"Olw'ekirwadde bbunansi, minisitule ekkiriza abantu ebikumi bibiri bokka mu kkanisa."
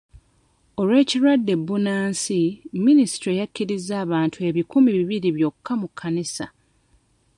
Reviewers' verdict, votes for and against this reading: rejected, 1, 2